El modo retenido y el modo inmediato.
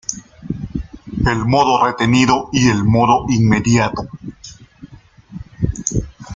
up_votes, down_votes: 0, 2